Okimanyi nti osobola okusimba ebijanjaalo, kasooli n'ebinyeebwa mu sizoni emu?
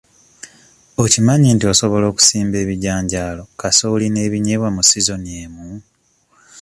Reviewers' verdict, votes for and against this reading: accepted, 2, 0